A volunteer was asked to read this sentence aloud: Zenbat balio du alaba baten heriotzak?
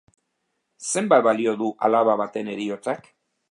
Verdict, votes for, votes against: accepted, 2, 0